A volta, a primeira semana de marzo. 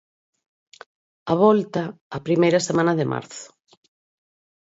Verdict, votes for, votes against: accepted, 4, 0